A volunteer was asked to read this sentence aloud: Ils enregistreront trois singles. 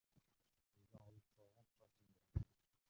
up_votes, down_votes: 0, 2